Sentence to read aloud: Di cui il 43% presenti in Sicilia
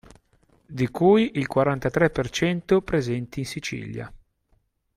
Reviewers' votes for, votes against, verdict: 0, 2, rejected